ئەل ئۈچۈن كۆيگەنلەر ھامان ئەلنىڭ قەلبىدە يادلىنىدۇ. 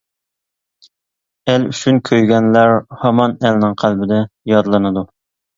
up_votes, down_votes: 2, 0